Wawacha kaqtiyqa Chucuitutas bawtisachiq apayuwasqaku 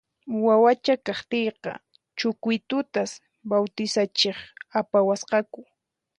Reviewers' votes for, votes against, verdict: 4, 0, accepted